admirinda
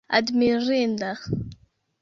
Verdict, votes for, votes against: accepted, 2, 1